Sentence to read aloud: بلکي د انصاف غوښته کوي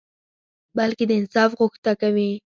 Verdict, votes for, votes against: accepted, 4, 0